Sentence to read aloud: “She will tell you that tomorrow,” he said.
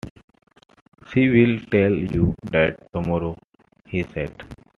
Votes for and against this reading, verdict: 2, 0, accepted